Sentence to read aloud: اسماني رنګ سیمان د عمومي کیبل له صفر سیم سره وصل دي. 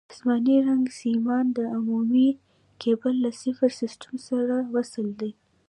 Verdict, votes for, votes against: accepted, 2, 0